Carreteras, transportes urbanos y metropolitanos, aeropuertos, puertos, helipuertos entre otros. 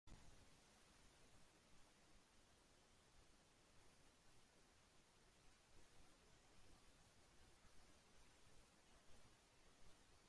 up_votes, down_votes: 0, 2